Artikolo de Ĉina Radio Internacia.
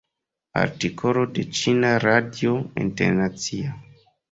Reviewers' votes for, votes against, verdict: 2, 0, accepted